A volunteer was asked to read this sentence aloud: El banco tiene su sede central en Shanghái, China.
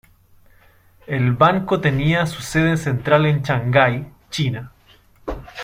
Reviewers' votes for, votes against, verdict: 1, 2, rejected